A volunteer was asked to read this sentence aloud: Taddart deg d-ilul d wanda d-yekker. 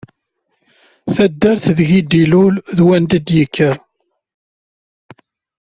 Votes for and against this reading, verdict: 2, 0, accepted